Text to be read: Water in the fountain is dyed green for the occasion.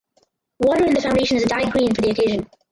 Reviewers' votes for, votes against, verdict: 2, 4, rejected